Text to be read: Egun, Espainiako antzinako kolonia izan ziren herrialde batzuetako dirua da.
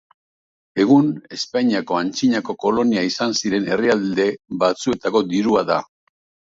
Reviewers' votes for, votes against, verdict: 0, 2, rejected